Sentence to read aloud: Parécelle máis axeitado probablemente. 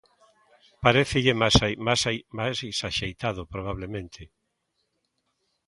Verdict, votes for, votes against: rejected, 0, 2